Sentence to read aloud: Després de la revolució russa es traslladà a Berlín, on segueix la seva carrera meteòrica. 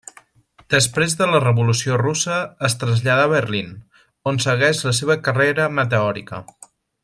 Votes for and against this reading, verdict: 1, 2, rejected